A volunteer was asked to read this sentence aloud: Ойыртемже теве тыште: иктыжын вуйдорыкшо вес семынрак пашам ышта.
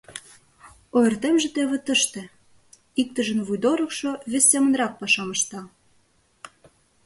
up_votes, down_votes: 2, 0